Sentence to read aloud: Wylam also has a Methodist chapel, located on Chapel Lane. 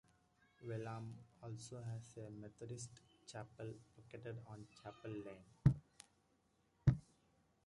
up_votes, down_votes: 0, 2